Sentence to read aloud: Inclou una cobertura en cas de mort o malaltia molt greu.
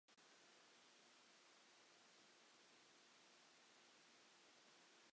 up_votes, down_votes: 0, 2